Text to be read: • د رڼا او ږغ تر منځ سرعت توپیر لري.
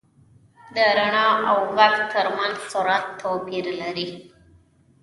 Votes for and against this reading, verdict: 1, 2, rejected